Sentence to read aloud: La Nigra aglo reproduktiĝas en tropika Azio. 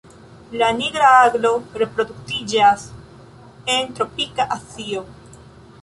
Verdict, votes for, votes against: rejected, 0, 3